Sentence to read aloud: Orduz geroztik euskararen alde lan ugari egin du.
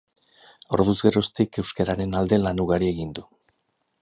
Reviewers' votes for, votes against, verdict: 0, 4, rejected